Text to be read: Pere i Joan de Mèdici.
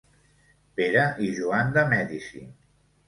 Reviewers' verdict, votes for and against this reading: accepted, 2, 0